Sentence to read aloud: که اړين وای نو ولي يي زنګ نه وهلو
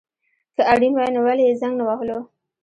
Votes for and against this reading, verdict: 2, 1, accepted